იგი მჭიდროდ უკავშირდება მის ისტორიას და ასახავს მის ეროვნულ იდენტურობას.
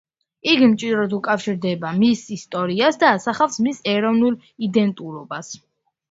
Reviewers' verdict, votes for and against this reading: accepted, 2, 0